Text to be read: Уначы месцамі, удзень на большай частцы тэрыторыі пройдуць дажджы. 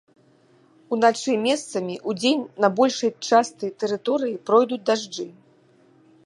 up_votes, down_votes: 1, 2